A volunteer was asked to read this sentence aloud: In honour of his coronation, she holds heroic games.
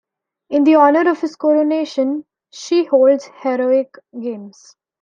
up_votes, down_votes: 0, 2